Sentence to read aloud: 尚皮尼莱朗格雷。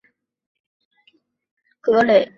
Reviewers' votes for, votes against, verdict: 1, 2, rejected